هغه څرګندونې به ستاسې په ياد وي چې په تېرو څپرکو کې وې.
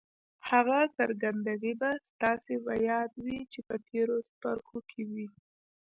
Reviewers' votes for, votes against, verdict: 2, 0, accepted